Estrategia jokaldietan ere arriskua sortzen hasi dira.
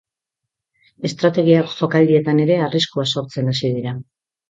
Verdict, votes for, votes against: accepted, 3, 0